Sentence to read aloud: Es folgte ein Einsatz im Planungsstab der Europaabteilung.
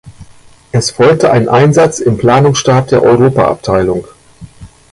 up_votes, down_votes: 1, 2